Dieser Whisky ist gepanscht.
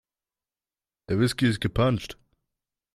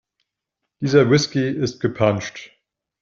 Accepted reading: second